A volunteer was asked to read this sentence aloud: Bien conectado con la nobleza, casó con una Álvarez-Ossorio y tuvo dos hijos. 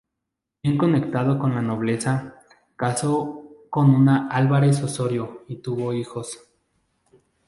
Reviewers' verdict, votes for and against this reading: rejected, 0, 2